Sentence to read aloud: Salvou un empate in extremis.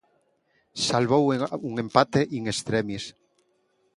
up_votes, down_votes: 0, 2